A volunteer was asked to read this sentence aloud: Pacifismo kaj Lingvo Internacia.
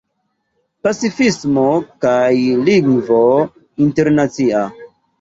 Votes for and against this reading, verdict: 2, 0, accepted